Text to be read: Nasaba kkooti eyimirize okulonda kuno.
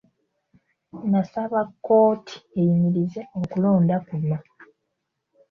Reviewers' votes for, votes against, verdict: 2, 0, accepted